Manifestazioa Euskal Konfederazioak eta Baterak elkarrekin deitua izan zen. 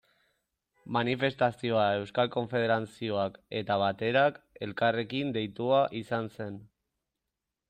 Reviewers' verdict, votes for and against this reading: rejected, 1, 2